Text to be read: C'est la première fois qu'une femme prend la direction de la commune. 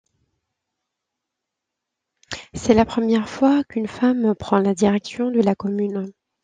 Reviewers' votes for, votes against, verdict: 2, 0, accepted